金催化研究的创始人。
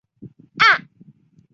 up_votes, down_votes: 1, 3